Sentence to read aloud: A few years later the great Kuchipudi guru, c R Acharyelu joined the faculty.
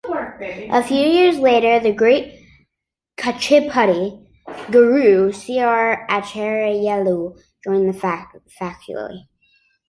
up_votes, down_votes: 2, 0